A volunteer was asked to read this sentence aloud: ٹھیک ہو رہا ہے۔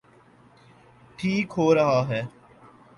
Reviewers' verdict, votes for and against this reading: accepted, 3, 1